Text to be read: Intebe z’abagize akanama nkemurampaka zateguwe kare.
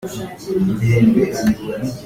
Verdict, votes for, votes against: rejected, 0, 3